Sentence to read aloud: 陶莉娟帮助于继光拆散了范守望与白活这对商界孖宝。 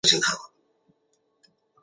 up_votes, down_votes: 1, 2